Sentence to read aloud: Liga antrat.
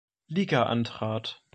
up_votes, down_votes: 2, 0